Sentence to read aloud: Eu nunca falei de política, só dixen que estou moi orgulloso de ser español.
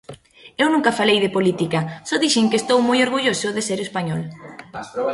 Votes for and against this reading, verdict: 2, 0, accepted